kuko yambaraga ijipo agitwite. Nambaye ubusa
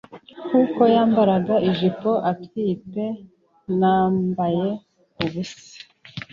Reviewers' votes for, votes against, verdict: 1, 2, rejected